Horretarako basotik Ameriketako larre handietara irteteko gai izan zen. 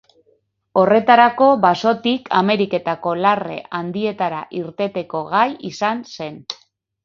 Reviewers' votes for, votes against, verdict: 4, 2, accepted